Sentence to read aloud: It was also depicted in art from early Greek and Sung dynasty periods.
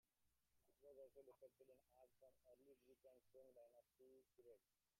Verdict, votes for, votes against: rejected, 0, 2